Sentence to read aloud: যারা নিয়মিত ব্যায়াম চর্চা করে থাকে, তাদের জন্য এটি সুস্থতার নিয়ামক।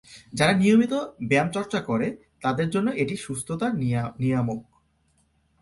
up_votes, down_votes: 0, 2